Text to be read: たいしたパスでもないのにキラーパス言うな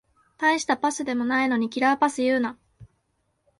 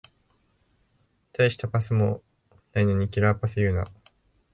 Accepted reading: first